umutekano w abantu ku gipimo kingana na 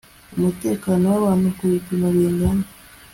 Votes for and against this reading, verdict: 2, 1, accepted